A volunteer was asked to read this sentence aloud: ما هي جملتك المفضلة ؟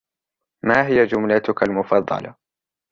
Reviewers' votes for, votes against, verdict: 2, 0, accepted